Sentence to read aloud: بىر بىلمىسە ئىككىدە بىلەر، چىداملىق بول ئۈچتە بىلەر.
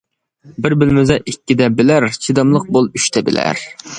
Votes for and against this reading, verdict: 2, 0, accepted